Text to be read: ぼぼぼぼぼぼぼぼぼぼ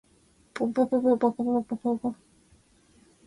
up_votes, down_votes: 0, 2